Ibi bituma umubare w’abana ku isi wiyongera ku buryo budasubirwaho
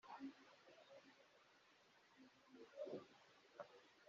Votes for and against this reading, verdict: 0, 2, rejected